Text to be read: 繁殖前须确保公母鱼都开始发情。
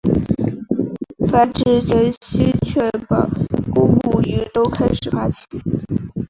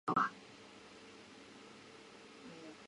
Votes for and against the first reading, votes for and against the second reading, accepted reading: 7, 0, 1, 4, first